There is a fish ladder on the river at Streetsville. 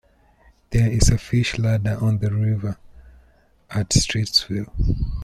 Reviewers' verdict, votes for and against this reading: accepted, 2, 0